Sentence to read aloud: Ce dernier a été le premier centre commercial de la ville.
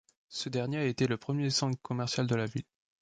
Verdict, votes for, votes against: accepted, 2, 0